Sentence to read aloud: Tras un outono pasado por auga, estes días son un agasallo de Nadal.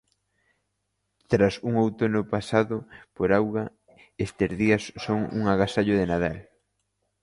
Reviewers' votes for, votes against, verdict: 2, 1, accepted